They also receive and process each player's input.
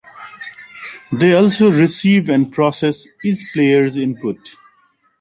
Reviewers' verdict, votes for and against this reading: accepted, 2, 1